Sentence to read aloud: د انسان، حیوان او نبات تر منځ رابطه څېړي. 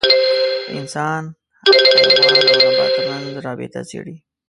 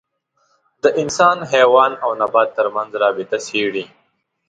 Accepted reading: second